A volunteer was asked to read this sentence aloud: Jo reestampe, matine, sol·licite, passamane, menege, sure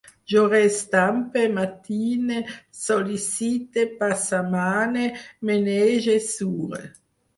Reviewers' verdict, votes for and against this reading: accepted, 4, 0